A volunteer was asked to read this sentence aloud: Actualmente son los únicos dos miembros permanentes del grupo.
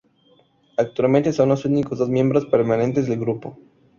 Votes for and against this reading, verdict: 8, 0, accepted